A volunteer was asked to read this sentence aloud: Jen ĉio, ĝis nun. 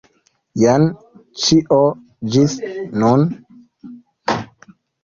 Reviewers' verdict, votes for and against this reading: accepted, 2, 0